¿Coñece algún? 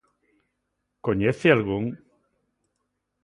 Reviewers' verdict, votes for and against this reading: accepted, 2, 0